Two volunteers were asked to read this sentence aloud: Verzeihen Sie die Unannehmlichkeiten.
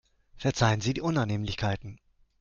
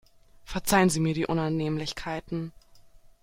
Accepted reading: first